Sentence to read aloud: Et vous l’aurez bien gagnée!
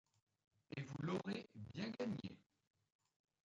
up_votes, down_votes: 1, 2